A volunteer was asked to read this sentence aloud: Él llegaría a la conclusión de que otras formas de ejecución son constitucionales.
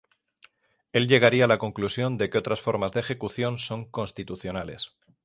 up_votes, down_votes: 3, 3